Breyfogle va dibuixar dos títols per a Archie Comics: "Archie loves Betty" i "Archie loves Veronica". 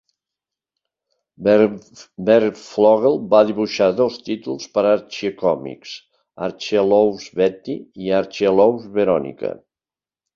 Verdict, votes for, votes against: rejected, 1, 3